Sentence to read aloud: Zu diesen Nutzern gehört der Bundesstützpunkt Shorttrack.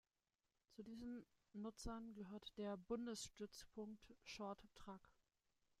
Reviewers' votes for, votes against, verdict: 2, 0, accepted